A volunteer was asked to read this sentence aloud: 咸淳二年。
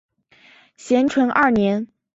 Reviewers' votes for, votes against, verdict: 2, 0, accepted